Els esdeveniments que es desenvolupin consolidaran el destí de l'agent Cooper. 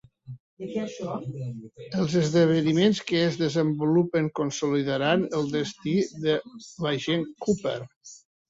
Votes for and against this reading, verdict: 1, 2, rejected